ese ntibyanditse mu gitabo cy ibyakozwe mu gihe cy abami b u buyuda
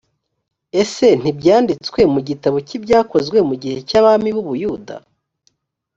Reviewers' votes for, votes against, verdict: 1, 2, rejected